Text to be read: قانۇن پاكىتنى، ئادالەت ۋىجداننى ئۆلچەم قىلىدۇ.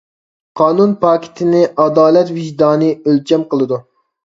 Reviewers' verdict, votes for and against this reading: rejected, 0, 2